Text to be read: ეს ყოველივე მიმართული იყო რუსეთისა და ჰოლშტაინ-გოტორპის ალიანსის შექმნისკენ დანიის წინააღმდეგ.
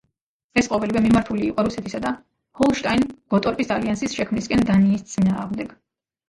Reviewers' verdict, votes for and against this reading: rejected, 0, 2